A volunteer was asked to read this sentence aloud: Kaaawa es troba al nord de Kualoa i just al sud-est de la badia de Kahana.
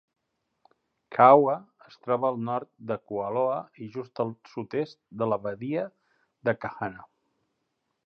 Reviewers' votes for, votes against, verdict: 2, 0, accepted